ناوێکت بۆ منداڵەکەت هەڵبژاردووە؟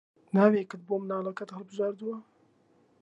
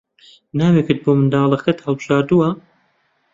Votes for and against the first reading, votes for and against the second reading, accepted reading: 1, 2, 2, 0, second